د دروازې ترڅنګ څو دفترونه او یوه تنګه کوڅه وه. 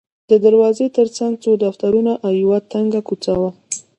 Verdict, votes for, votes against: accepted, 2, 0